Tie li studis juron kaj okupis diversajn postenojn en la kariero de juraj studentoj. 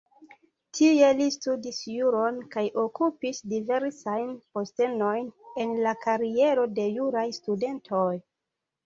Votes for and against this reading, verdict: 2, 0, accepted